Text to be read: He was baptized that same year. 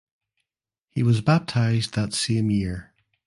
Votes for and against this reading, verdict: 2, 0, accepted